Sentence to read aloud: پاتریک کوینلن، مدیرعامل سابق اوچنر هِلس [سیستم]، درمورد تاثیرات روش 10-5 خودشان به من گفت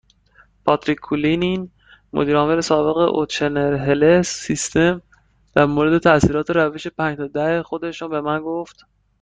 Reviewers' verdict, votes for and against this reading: rejected, 0, 2